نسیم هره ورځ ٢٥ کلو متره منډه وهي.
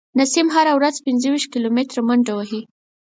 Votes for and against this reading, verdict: 0, 2, rejected